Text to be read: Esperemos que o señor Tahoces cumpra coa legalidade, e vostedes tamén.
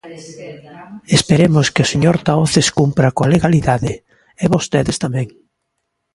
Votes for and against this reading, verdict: 1, 2, rejected